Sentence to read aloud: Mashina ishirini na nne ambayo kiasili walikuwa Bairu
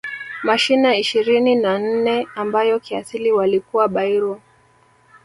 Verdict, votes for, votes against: rejected, 1, 2